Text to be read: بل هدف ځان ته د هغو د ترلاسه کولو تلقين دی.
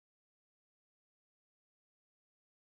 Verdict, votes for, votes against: rejected, 1, 2